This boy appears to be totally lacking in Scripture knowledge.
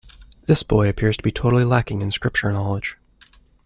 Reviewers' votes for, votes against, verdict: 2, 0, accepted